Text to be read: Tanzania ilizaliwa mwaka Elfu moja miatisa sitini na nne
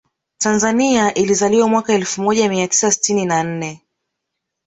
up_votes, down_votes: 1, 2